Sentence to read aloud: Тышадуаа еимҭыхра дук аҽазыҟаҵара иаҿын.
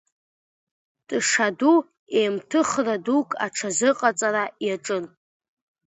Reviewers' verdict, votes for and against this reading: rejected, 0, 3